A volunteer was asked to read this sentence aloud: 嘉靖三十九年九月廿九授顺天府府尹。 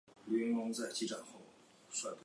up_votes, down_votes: 0, 3